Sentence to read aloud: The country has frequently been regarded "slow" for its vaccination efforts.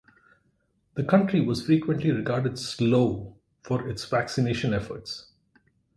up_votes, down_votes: 0, 4